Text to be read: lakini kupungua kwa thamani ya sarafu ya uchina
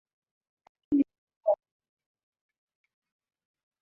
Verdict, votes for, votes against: rejected, 0, 5